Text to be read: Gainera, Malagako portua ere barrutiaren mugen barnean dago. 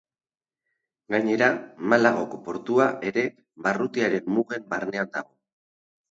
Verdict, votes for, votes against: rejected, 2, 2